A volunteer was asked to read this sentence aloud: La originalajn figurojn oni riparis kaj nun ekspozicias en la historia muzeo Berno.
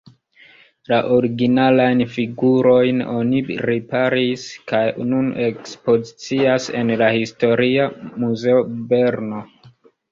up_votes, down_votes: 2, 1